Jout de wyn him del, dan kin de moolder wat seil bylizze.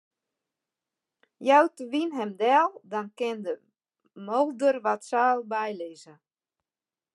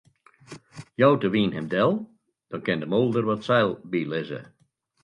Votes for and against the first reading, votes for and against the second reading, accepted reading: 0, 2, 2, 0, second